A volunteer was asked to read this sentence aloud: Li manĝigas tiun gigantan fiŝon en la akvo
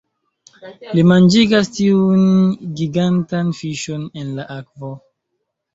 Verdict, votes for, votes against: rejected, 0, 2